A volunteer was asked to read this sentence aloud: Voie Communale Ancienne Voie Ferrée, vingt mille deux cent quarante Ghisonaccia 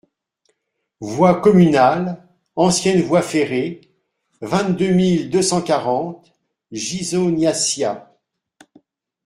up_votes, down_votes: 0, 2